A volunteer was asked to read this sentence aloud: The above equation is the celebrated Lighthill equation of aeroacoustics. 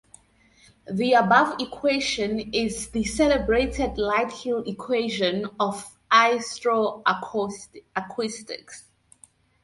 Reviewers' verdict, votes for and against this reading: rejected, 0, 4